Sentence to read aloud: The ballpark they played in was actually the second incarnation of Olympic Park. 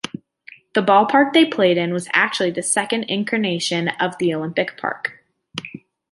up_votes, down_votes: 2, 1